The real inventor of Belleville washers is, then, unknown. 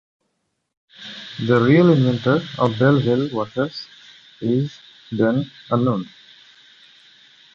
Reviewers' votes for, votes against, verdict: 2, 0, accepted